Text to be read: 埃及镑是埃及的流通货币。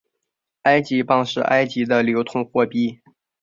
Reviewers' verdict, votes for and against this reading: accepted, 5, 0